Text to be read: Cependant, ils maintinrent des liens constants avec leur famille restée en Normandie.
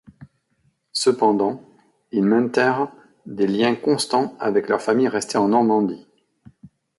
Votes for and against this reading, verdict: 1, 2, rejected